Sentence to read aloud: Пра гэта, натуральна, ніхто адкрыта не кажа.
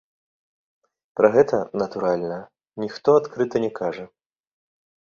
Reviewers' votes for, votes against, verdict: 2, 0, accepted